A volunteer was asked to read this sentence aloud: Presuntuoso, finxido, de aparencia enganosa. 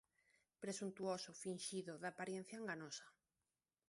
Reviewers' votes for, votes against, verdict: 1, 2, rejected